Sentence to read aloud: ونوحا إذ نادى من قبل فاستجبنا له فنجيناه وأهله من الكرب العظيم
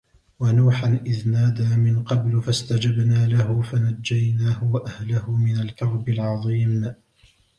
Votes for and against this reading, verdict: 1, 2, rejected